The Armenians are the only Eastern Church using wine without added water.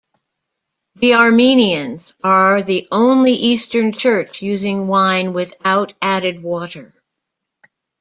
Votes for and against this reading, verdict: 2, 0, accepted